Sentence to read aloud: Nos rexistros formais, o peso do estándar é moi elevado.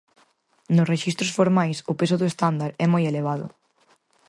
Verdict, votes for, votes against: accepted, 4, 0